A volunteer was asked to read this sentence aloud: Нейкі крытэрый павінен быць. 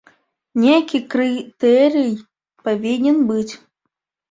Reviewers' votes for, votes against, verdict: 2, 1, accepted